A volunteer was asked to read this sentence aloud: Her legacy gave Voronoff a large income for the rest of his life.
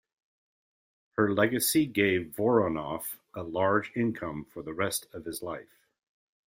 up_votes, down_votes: 2, 0